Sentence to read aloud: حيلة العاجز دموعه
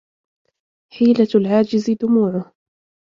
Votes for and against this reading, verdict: 2, 0, accepted